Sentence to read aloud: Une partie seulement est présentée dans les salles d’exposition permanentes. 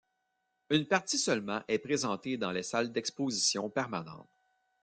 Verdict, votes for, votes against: accepted, 2, 0